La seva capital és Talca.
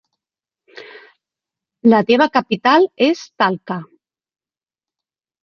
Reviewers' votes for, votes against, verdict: 0, 2, rejected